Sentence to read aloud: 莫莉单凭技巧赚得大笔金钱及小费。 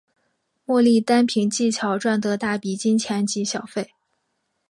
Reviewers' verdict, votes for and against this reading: accepted, 2, 1